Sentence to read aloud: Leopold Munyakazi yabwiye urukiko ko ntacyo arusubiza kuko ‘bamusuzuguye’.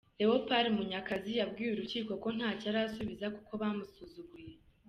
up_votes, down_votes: 2, 0